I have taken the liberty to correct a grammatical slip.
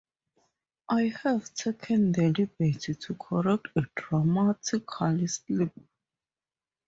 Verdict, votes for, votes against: rejected, 0, 2